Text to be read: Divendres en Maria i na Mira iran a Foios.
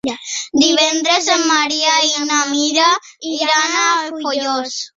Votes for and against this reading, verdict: 2, 0, accepted